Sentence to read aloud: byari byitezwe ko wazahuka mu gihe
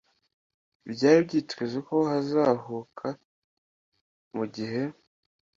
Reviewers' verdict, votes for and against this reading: accepted, 2, 1